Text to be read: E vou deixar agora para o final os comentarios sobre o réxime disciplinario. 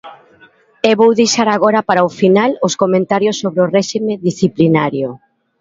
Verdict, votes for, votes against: rejected, 1, 2